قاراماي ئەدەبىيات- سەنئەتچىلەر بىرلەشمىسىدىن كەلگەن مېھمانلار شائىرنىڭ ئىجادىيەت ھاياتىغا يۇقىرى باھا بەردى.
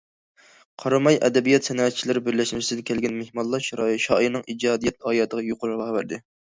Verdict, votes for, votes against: rejected, 0, 2